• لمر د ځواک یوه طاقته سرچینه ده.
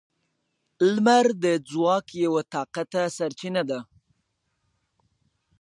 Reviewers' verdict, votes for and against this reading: accepted, 2, 1